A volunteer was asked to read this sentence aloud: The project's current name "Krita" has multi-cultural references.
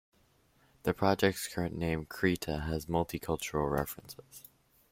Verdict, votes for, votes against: accepted, 2, 1